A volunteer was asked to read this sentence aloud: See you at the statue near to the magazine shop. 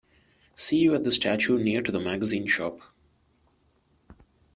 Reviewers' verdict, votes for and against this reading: accepted, 2, 1